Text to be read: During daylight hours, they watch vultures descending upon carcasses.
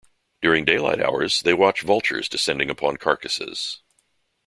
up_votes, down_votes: 3, 0